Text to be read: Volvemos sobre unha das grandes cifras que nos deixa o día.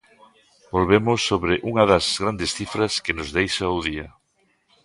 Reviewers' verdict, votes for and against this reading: accepted, 2, 0